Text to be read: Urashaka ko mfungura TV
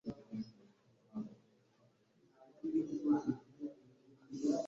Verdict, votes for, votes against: rejected, 0, 2